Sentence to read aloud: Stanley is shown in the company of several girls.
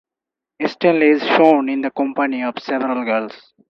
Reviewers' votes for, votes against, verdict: 0, 4, rejected